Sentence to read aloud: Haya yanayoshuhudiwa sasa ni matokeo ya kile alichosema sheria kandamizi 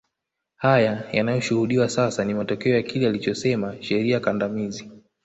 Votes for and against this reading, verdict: 0, 2, rejected